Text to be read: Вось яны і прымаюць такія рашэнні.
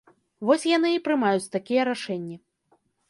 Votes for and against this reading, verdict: 3, 0, accepted